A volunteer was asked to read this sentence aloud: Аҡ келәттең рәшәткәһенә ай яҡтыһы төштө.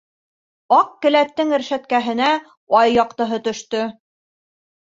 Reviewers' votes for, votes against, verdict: 3, 0, accepted